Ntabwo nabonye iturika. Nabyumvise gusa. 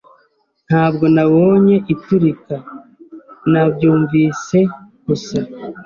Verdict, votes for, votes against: accepted, 2, 0